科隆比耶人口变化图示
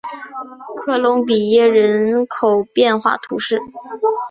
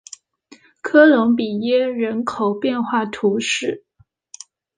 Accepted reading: second